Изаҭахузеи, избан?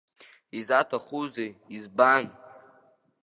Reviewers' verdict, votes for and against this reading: accepted, 2, 0